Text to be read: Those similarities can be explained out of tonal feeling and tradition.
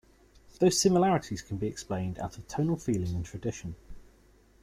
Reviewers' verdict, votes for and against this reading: accepted, 2, 0